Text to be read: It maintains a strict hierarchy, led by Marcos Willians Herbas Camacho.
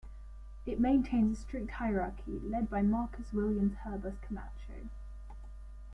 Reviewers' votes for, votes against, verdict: 1, 2, rejected